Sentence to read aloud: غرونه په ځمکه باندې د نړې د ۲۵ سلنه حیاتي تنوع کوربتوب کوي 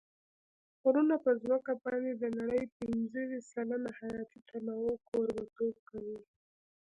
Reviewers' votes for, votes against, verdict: 0, 2, rejected